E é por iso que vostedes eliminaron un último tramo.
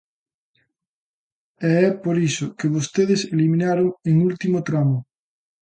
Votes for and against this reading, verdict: 1, 2, rejected